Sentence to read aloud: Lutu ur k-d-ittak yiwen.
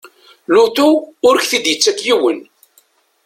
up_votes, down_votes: 2, 0